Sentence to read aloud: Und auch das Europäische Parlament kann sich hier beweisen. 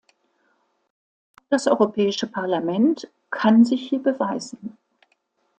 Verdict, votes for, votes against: rejected, 1, 2